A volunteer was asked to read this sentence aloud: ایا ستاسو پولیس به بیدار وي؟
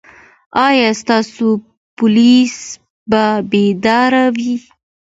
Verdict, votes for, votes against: accepted, 2, 0